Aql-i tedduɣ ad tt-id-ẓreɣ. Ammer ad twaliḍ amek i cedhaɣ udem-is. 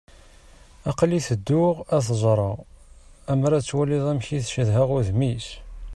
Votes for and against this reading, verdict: 0, 2, rejected